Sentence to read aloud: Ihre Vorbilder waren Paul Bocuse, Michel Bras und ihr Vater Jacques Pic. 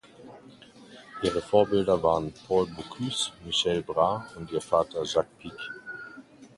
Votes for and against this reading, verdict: 1, 2, rejected